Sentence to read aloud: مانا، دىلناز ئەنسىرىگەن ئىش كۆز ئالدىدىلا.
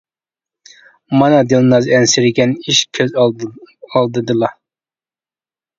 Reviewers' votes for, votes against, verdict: 1, 2, rejected